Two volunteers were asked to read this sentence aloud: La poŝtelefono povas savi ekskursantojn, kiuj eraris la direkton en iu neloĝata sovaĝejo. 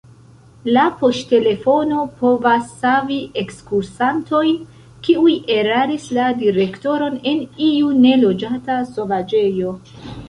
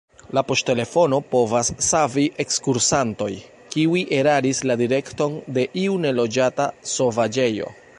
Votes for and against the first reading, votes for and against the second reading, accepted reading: 1, 2, 2, 0, second